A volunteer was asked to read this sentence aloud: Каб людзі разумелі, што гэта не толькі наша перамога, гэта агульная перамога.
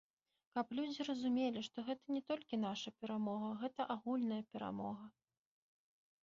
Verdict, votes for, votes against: accepted, 2, 0